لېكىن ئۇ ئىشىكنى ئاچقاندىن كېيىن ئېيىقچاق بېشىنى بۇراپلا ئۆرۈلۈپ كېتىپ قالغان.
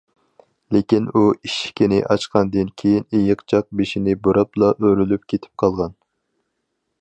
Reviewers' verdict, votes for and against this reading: accepted, 4, 2